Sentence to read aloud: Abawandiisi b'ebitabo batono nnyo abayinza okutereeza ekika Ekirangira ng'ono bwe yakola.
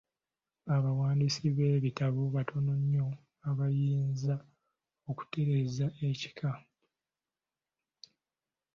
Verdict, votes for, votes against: rejected, 0, 2